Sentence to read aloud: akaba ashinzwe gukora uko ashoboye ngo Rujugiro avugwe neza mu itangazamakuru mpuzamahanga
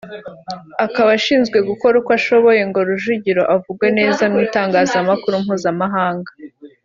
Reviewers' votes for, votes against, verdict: 2, 0, accepted